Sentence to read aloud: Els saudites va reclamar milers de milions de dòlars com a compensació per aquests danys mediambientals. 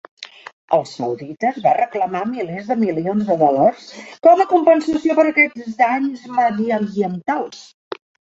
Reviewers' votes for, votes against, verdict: 1, 2, rejected